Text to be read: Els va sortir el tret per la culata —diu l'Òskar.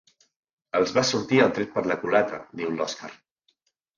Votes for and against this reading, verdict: 2, 0, accepted